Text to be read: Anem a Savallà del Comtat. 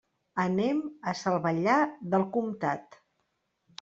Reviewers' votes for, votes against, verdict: 1, 2, rejected